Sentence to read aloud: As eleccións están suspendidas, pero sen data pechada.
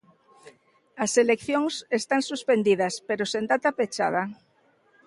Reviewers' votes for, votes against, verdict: 2, 0, accepted